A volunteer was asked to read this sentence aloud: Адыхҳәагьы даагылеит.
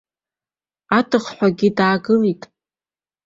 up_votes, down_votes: 2, 1